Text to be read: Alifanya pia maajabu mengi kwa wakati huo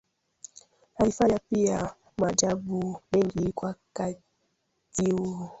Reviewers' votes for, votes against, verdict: 0, 2, rejected